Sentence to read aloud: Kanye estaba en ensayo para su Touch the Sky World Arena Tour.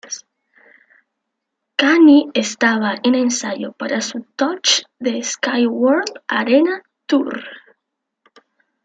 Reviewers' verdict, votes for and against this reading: accepted, 2, 0